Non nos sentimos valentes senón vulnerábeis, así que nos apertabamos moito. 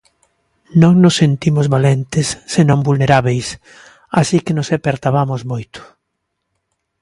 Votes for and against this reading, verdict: 2, 0, accepted